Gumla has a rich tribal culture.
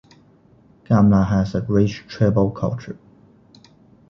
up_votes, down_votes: 2, 0